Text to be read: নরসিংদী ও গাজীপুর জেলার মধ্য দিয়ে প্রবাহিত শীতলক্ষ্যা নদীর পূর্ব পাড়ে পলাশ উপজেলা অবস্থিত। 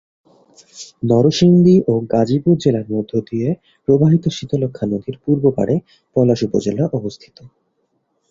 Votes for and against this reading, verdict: 34, 4, accepted